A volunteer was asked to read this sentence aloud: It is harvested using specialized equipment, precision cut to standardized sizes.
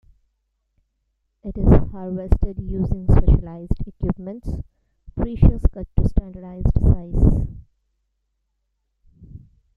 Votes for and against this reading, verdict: 0, 2, rejected